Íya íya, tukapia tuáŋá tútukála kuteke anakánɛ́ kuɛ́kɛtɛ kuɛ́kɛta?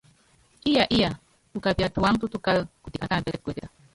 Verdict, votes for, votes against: rejected, 0, 2